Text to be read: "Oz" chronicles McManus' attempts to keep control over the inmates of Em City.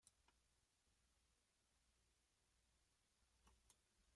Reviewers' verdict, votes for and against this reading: rejected, 1, 2